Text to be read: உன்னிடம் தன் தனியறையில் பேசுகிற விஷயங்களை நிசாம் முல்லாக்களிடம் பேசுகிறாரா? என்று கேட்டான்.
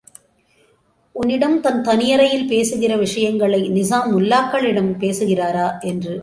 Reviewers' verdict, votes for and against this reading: rejected, 0, 2